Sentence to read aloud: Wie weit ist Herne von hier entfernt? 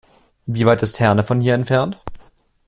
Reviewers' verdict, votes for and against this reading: accepted, 2, 0